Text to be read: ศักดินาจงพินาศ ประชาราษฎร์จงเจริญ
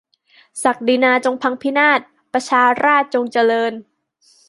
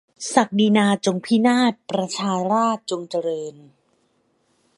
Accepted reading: second